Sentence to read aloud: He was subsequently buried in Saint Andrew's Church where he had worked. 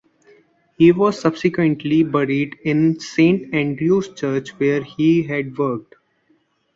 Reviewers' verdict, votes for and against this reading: accepted, 2, 0